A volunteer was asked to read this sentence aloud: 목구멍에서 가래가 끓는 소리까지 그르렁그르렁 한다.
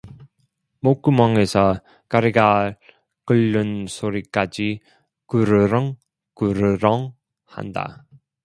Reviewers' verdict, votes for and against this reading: accepted, 2, 0